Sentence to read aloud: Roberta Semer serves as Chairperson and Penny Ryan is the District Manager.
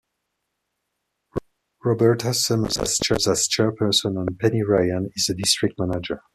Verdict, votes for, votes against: rejected, 1, 2